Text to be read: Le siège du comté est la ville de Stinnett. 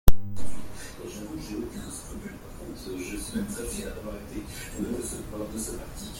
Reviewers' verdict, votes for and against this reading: rejected, 0, 2